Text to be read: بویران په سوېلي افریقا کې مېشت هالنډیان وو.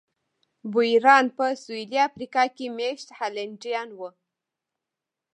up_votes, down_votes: 1, 2